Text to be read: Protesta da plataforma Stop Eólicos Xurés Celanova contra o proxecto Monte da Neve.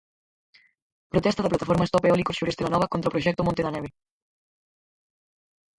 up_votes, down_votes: 0, 4